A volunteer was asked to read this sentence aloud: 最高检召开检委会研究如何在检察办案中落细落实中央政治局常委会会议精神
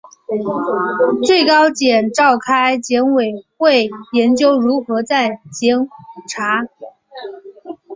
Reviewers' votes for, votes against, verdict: 0, 3, rejected